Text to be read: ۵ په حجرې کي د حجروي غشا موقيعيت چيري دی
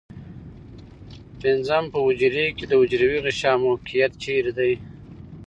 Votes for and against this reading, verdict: 0, 2, rejected